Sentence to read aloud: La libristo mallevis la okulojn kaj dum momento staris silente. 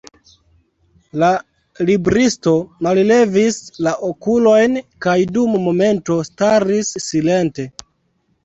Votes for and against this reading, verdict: 1, 2, rejected